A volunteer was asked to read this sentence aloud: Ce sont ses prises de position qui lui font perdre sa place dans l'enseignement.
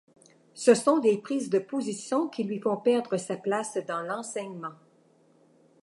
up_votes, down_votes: 2, 1